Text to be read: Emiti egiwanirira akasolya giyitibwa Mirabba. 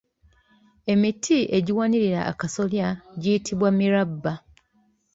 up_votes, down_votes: 3, 0